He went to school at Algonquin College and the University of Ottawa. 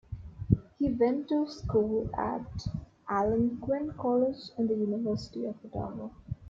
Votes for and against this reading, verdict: 2, 1, accepted